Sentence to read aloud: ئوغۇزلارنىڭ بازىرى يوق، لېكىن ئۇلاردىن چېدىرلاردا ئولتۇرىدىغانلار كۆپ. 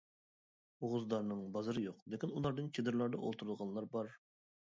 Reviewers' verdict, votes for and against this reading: rejected, 0, 2